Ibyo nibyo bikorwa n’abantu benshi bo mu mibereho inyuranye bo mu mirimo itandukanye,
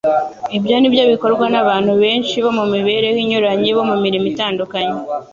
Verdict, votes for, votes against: accepted, 2, 0